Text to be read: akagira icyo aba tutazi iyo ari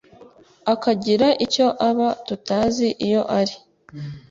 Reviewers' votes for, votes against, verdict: 3, 0, accepted